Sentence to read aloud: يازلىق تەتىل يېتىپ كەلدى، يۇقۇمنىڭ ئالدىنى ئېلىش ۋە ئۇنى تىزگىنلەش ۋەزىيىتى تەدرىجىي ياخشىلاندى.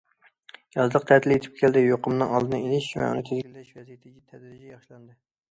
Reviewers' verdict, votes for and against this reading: rejected, 0, 2